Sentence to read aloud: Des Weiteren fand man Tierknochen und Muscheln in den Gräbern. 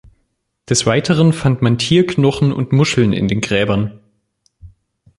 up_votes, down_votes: 2, 0